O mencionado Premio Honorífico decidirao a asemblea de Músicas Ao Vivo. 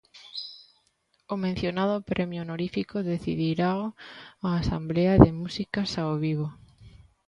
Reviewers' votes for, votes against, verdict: 1, 2, rejected